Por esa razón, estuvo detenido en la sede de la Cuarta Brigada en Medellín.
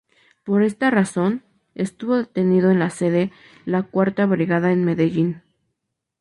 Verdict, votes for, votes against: rejected, 0, 2